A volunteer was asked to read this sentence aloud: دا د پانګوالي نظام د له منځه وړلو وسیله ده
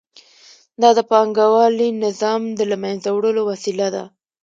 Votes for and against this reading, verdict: 2, 0, accepted